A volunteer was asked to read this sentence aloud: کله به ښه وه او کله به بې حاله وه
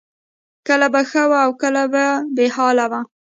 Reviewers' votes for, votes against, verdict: 2, 0, accepted